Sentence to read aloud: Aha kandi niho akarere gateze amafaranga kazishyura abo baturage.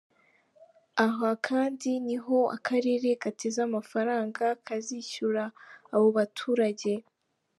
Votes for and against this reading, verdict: 3, 0, accepted